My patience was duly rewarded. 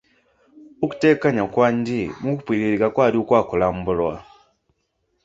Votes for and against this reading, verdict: 0, 2, rejected